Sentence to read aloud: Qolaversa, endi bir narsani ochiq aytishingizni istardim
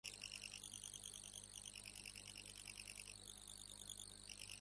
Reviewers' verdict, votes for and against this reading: rejected, 0, 2